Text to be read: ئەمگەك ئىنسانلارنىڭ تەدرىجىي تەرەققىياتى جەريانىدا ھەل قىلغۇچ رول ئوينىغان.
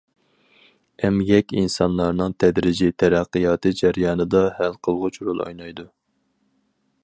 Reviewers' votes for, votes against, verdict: 0, 4, rejected